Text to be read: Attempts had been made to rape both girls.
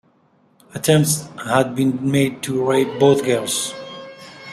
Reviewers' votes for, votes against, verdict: 2, 0, accepted